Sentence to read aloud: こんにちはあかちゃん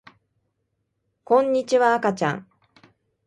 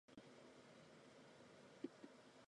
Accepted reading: first